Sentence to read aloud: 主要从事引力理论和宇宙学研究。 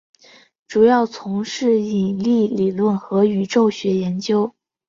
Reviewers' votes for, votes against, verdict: 3, 1, accepted